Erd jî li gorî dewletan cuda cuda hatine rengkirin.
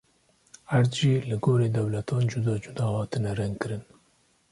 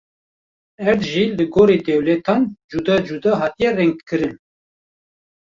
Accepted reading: first